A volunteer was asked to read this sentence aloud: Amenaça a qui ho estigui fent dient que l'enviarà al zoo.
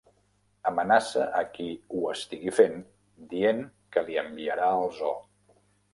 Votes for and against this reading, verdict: 1, 2, rejected